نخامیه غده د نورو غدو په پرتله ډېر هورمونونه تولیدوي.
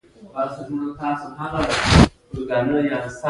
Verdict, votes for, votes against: rejected, 1, 2